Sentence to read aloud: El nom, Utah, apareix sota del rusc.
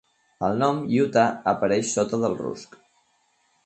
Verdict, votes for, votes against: accepted, 4, 0